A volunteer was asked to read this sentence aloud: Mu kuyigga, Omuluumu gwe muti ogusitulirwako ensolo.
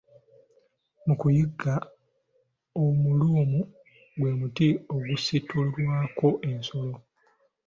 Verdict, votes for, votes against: accepted, 2, 0